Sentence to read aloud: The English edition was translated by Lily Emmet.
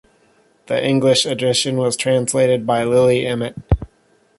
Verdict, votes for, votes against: accepted, 2, 0